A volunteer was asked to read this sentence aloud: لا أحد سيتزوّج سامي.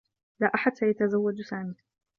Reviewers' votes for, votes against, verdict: 2, 1, accepted